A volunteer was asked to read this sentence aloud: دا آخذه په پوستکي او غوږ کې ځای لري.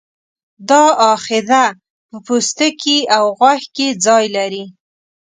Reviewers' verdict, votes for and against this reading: accepted, 2, 0